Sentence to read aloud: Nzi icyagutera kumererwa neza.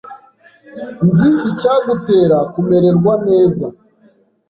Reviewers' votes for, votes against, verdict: 2, 0, accepted